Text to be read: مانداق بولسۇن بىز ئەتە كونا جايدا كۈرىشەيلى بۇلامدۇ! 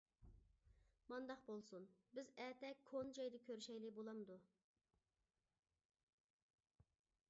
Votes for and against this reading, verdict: 0, 2, rejected